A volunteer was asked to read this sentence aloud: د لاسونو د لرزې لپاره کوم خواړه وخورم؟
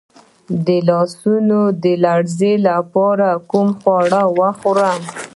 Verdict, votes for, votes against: accepted, 2, 0